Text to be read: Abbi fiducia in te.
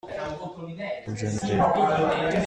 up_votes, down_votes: 0, 2